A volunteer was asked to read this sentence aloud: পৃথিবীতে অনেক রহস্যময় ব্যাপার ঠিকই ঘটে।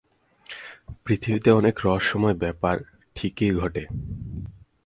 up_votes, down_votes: 4, 0